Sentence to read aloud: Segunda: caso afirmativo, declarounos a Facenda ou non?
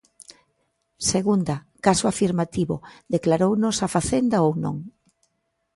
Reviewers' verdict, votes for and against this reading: accepted, 2, 0